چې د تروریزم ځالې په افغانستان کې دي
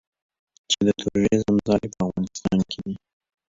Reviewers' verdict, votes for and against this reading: rejected, 1, 2